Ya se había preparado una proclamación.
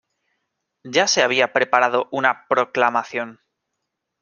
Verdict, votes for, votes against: accepted, 2, 0